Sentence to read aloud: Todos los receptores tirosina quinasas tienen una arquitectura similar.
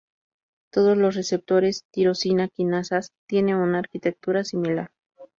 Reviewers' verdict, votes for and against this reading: rejected, 0, 2